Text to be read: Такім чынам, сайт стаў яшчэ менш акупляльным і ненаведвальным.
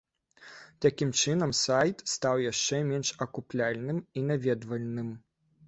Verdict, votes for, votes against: rejected, 0, 2